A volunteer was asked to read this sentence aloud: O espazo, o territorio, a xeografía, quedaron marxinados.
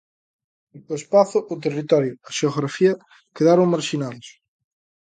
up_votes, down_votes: 2, 0